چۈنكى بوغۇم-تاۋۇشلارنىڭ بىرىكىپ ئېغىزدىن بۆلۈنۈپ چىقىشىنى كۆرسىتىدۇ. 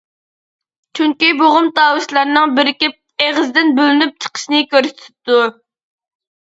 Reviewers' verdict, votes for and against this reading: rejected, 0, 2